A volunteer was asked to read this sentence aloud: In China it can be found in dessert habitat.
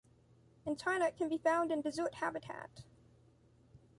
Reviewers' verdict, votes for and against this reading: accepted, 2, 1